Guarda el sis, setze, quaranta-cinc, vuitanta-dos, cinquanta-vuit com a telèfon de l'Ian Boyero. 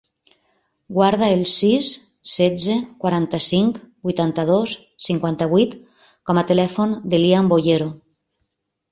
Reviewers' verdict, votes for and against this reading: accepted, 3, 0